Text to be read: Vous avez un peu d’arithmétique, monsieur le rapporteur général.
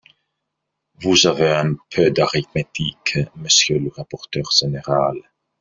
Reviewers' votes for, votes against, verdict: 1, 2, rejected